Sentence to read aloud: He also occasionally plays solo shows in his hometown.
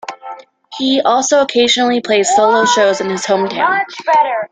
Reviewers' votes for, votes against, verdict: 2, 1, accepted